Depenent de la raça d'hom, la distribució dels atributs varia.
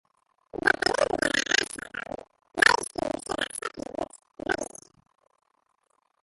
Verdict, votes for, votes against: rejected, 0, 2